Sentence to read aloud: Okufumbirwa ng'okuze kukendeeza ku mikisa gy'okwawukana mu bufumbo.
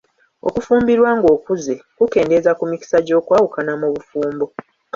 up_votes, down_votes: 2, 0